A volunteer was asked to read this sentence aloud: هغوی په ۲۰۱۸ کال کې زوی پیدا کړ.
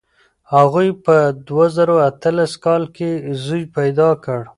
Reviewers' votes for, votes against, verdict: 0, 2, rejected